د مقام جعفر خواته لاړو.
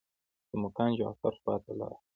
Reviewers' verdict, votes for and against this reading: rejected, 0, 2